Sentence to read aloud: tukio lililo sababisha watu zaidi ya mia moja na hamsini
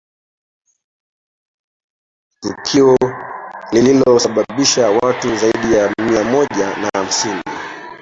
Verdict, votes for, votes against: rejected, 1, 4